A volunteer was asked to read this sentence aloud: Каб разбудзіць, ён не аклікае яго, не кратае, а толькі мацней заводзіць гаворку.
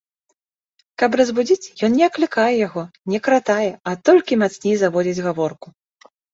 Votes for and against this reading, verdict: 2, 0, accepted